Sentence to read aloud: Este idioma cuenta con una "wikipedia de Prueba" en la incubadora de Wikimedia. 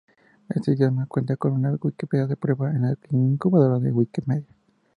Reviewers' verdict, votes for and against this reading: accepted, 4, 2